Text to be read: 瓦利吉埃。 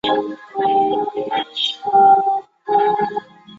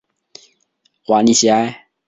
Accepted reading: second